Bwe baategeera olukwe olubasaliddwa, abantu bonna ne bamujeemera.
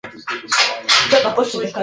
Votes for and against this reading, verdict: 1, 2, rejected